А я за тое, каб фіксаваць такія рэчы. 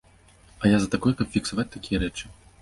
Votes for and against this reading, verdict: 0, 2, rejected